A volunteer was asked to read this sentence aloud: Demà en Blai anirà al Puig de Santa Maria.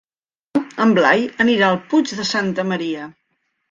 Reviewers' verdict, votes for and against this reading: rejected, 1, 2